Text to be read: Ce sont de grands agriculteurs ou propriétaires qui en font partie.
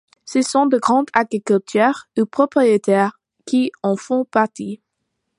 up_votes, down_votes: 2, 0